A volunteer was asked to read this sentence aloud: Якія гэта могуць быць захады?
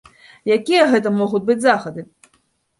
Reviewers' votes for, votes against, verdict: 2, 0, accepted